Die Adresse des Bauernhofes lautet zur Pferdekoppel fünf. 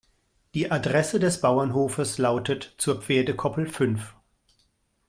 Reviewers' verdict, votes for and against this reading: accepted, 2, 0